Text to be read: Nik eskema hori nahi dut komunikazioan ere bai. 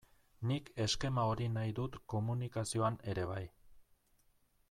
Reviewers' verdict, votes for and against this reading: accepted, 2, 1